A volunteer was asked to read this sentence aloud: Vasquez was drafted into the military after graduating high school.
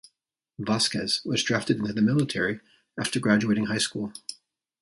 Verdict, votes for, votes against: rejected, 1, 2